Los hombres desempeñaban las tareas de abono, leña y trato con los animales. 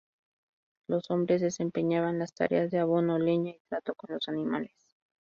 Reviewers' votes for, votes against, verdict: 2, 0, accepted